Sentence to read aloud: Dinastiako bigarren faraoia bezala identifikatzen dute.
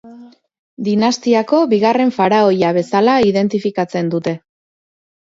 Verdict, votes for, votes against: rejected, 0, 2